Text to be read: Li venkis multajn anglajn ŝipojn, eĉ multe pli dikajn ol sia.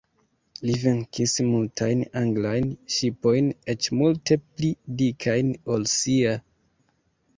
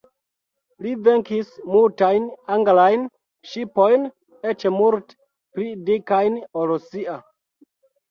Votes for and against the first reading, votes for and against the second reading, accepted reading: 2, 1, 1, 2, first